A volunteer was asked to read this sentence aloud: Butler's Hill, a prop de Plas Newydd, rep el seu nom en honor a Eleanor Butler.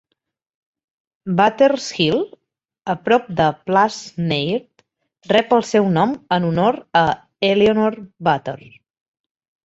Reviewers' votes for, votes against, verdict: 4, 0, accepted